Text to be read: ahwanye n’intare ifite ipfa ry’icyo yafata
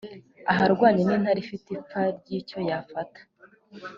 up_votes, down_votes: 0, 2